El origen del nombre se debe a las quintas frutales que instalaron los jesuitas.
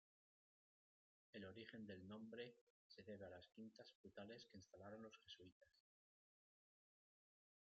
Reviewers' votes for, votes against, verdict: 1, 2, rejected